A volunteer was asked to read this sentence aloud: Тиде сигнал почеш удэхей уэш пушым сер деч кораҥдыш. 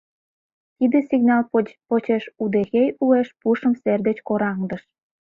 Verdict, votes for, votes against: rejected, 0, 2